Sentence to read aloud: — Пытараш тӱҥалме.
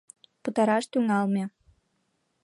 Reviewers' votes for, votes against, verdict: 1, 2, rejected